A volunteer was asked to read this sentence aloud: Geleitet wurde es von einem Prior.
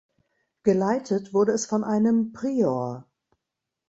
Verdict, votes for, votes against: accepted, 2, 0